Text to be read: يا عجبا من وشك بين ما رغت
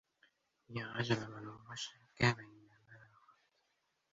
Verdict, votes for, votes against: rejected, 0, 2